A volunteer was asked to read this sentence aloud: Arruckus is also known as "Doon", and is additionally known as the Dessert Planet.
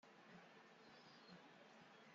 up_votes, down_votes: 0, 2